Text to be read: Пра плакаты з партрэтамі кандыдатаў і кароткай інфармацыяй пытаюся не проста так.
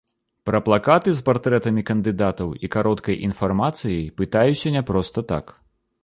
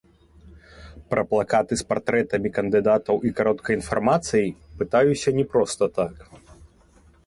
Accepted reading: first